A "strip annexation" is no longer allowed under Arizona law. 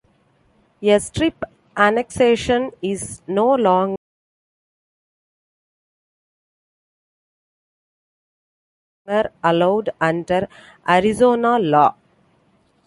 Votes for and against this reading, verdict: 0, 2, rejected